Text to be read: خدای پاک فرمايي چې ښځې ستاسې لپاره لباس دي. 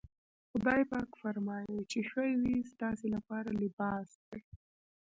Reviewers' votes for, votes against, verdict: 0, 2, rejected